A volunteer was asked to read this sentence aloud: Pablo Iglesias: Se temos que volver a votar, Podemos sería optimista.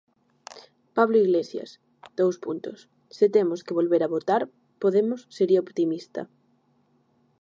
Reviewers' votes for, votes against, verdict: 0, 2, rejected